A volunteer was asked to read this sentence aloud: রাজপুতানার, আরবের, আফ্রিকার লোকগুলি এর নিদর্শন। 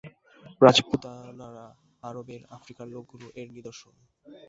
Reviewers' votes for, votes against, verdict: 0, 2, rejected